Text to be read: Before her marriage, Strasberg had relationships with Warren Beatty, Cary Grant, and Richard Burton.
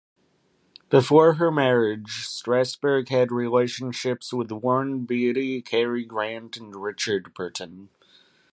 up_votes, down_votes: 2, 0